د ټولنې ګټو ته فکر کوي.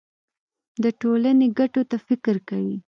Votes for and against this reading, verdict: 2, 0, accepted